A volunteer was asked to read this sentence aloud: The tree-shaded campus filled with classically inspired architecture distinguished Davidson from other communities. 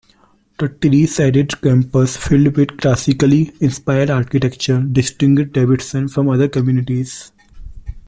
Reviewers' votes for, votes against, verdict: 2, 1, accepted